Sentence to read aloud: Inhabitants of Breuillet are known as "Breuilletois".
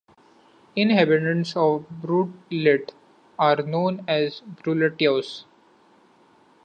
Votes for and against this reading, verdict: 0, 2, rejected